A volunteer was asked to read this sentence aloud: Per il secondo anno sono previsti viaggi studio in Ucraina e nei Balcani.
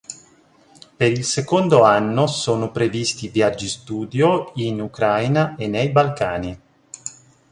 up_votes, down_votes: 2, 0